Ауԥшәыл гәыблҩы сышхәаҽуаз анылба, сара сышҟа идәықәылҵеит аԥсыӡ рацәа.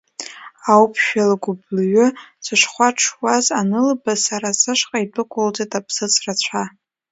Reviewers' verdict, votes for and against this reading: rejected, 0, 2